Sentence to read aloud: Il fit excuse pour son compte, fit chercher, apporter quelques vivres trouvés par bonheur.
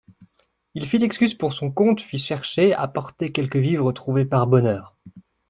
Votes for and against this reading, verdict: 2, 0, accepted